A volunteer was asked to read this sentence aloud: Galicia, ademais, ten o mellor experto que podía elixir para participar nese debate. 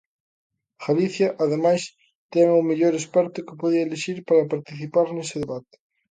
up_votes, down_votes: 2, 0